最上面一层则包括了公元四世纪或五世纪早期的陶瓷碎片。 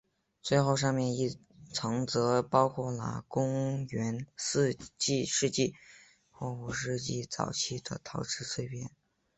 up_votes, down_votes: 1, 2